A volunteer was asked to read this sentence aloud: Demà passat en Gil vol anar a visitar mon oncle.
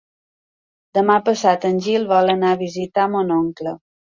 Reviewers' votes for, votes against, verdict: 4, 0, accepted